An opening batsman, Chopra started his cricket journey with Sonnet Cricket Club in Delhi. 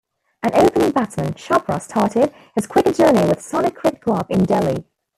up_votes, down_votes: 0, 2